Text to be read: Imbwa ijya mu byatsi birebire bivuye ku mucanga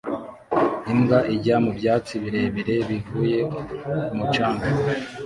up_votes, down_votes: 1, 2